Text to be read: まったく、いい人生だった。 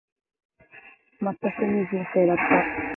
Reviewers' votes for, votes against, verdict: 1, 2, rejected